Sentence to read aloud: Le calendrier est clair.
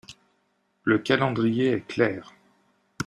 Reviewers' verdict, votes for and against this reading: accepted, 2, 0